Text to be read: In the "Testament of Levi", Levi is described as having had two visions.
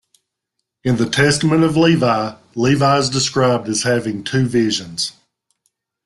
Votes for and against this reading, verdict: 2, 0, accepted